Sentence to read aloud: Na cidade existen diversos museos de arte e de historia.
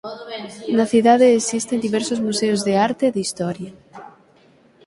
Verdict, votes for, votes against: rejected, 3, 6